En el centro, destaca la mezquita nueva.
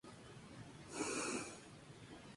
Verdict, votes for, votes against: rejected, 0, 2